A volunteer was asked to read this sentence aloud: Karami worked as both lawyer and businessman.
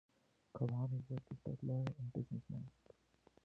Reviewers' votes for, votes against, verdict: 0, 2, rejected